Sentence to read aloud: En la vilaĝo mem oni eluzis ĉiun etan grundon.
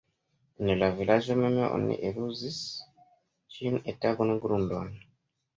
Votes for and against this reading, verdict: 2, 0, accepted